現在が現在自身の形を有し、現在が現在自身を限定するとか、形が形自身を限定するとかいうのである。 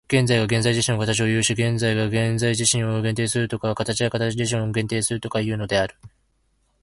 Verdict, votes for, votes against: rejected, 1, 2